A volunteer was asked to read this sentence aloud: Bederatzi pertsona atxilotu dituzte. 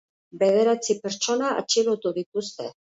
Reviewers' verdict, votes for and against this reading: accepted, 4, 0